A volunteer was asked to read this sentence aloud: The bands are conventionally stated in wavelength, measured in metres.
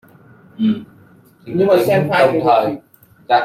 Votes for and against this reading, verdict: 0, 2, rejected